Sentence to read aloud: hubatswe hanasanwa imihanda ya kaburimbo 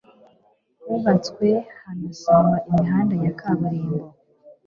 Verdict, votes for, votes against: accepted, 2, 0